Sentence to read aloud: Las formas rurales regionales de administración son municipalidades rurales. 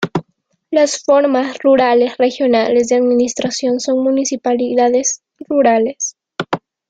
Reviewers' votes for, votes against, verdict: 3, 0, accepted